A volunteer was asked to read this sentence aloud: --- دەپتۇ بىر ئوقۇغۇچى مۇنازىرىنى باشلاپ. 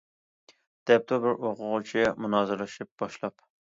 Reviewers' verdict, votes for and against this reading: rejected, 0, 2